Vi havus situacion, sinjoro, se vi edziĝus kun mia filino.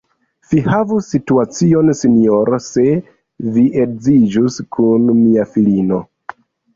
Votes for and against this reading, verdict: 2, 1, accepted